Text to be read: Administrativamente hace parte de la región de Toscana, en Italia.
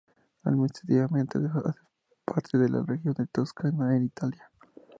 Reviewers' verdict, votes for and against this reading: rejected, 2, 2